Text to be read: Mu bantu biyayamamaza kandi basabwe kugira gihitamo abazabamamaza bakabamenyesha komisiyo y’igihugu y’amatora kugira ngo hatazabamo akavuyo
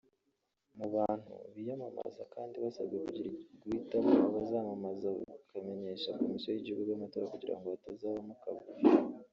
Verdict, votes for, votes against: rejected, 1, 3